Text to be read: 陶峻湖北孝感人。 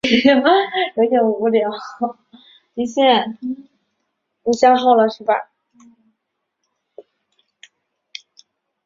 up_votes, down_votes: 0, 3